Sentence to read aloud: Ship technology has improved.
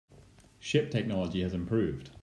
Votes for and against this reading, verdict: 2, 0, accepted